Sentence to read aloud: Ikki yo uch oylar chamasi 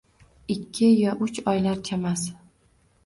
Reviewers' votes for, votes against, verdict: 2, 0, accepted